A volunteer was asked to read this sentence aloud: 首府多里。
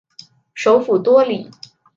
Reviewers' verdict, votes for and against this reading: accepted, 2, 0